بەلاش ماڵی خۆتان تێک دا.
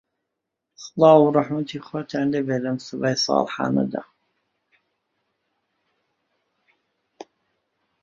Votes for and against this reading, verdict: 0, 2, rejected